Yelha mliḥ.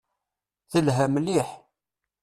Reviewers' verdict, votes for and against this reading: rejected, 0, 2